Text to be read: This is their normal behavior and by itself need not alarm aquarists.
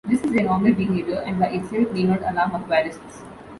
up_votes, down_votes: 1, 2